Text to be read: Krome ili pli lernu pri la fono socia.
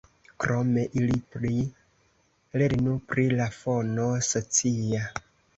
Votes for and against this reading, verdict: 2, 0, accepted